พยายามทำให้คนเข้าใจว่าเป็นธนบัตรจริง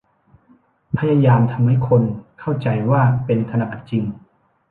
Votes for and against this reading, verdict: 2, 0, accepted